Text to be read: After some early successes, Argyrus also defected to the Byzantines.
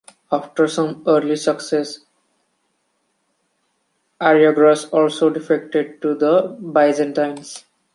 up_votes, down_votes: 2, 1